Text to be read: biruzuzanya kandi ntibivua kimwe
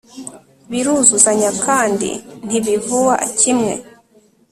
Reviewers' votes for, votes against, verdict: 2, 0, accepted